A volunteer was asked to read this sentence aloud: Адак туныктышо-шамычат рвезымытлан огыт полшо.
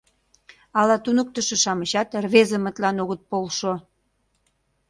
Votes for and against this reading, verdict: 1, 2, rejected